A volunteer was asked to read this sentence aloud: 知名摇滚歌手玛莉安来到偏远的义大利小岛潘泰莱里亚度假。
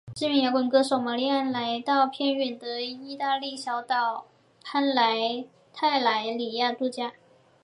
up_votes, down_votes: 0, 2